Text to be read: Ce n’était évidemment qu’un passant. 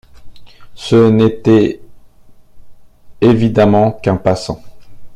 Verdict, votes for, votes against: accepted, 2, 0